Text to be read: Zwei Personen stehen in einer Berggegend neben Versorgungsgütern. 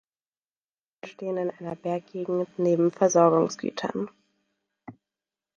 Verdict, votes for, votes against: rejected, 0, 2